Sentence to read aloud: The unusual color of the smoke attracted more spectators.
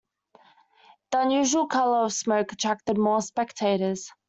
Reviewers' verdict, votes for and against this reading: accepted, 2, 1